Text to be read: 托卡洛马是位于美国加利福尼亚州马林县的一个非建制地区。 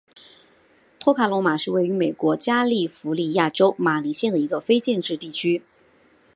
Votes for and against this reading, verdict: 2, 0, accepted